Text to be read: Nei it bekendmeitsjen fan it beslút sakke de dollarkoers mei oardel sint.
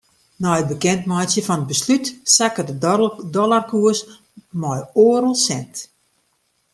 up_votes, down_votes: 1, 2